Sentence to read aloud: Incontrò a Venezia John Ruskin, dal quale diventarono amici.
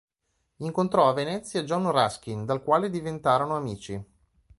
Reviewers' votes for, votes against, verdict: 2, 0, accepted